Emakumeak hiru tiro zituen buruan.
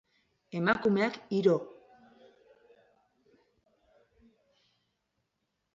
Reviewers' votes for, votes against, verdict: 0, 2, rejected